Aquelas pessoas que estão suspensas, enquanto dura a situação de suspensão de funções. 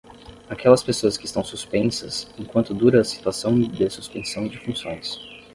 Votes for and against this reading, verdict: 10, 0, accepted